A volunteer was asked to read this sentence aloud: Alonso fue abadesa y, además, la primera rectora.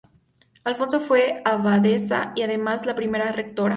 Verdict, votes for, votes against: accepted, 2, 0